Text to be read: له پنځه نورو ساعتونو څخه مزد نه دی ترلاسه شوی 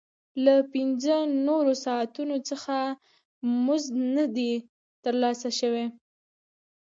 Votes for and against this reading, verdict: 1, 2, rejected